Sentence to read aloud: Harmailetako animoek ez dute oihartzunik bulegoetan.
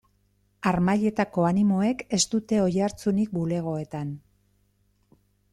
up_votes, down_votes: 2, 0